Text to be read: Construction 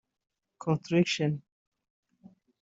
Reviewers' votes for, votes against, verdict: 0, 2, rejected